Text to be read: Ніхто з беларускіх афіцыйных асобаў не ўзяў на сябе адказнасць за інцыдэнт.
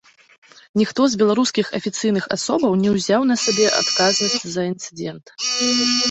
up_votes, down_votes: 0, 2